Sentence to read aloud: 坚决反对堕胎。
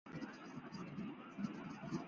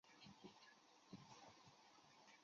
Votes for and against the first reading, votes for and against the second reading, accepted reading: 4, 3, 0, 2, first